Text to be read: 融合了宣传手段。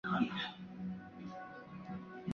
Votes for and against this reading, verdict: 0, 2, rejected